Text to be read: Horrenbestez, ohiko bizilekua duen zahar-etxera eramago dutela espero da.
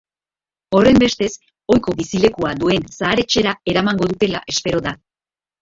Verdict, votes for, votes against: accepted, 2, 0